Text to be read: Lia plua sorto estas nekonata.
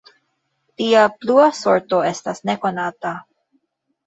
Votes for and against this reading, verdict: 1, 2, rejected